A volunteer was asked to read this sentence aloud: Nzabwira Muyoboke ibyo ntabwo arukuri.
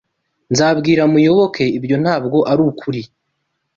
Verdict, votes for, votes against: accepted, 2, 0